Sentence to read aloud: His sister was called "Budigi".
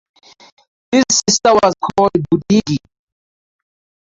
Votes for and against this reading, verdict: 2, 0, accepted